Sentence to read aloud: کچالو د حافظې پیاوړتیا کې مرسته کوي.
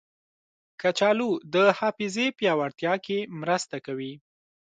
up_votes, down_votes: 2, 0